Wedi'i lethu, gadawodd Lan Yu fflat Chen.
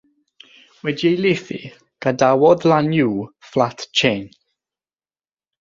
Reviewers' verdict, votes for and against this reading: rejected, 0, 3